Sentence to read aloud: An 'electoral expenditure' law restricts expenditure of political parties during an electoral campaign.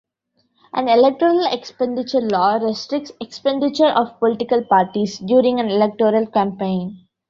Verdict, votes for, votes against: accepted, 2, 0